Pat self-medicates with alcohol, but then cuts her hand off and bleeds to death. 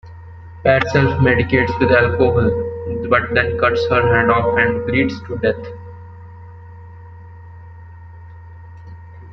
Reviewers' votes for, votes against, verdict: 1, 2, rejected